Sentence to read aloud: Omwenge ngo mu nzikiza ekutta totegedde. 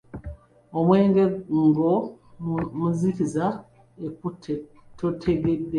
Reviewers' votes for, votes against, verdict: 1, 2, rejected